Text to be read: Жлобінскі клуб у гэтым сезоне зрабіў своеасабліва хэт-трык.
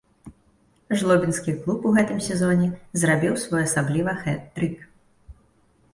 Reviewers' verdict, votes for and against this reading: accepted, 2, 0